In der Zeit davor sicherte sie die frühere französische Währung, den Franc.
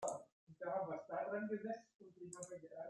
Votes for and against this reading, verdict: 0, 2, rejected